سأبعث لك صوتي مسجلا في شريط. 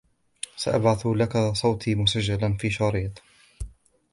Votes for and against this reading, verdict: 2, 1, accepted